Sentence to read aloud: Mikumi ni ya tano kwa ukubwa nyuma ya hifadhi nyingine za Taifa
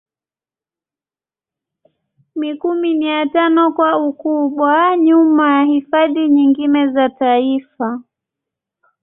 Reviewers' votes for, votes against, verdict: 0, 2, rejected